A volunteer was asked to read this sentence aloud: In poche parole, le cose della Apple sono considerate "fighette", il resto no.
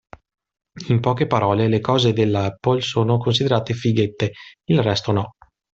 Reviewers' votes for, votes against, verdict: 2, 0, accepted